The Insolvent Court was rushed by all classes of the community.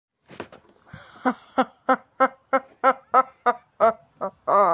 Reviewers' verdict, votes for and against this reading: rejected, 0, 2